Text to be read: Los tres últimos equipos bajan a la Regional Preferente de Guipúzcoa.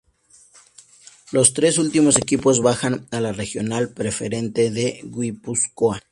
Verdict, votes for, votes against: accepted, 2, 0